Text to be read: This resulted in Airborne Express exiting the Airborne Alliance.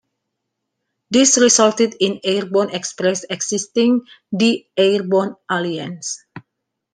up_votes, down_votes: 2, 1